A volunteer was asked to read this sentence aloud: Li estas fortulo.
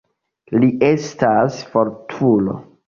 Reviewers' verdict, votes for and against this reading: accepted, 2, 1